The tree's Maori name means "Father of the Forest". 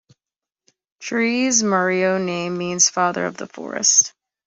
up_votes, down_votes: 0, 2